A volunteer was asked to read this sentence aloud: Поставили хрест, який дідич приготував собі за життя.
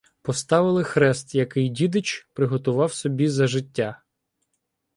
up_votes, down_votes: 2, 1